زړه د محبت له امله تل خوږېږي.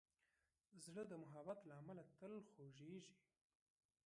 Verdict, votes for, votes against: rejected, 0, 2